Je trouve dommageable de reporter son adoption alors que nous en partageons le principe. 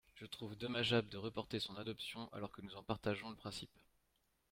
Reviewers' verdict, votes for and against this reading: accepted, 2, 0